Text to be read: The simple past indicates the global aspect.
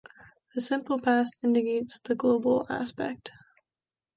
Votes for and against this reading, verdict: 2, 0, accepted